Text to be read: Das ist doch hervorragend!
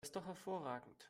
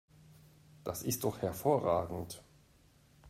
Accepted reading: second